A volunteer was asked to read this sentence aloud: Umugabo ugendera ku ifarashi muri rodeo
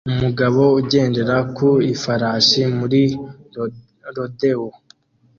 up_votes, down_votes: 0, 2